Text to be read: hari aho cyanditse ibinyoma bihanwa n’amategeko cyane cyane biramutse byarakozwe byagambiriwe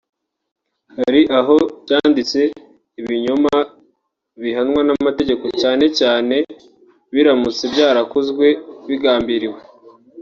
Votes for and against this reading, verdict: 0, 2, rejected